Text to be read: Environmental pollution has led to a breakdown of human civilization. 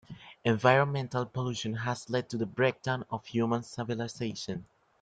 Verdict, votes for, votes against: accepted, 2, 0